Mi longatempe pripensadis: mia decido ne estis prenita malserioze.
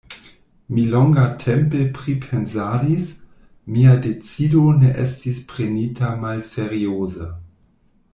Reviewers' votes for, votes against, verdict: 1, 2, rejected